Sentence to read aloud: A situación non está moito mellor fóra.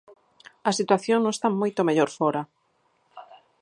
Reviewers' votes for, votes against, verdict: 2, 4, rejected